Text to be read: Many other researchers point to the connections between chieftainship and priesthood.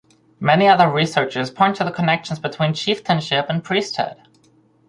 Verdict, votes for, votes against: accepted, 4, 0